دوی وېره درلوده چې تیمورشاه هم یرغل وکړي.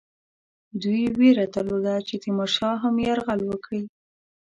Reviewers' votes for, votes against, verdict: 2, 0, accepted